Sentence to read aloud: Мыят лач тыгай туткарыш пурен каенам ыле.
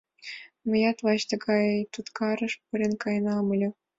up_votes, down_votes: 2, 0